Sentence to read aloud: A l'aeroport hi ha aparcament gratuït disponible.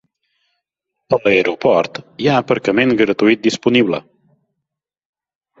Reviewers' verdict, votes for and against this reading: accepted, 3, 2